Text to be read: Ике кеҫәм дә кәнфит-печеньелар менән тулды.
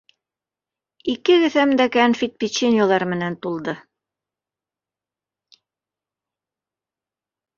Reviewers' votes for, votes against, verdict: 2, 1, accepted